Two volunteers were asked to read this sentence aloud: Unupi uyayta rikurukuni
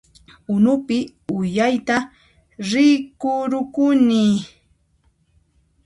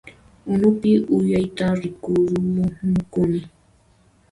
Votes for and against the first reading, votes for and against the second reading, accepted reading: 2, 0, 0, 2, first